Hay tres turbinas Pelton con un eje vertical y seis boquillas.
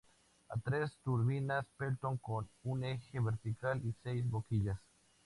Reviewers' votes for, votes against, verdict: 2, 0, accepted